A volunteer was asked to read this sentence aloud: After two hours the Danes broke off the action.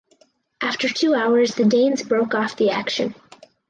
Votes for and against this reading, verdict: 2, 4, rejected